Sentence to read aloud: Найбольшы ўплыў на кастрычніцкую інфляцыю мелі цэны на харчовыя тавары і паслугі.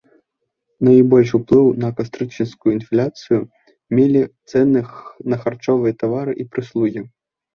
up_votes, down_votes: 1, 2